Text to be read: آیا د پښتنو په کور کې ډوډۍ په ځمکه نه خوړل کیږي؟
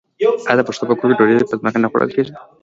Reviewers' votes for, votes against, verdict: 2, 0, accepted